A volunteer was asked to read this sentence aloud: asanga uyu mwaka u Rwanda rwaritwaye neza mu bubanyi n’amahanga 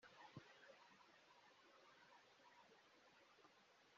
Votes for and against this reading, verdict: 0, 2, rejected